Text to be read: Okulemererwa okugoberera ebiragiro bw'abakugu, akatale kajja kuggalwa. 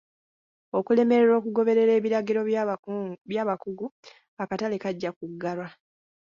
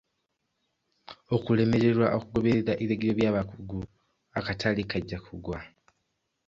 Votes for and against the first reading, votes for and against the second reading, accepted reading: 2, 0, 0, 2, first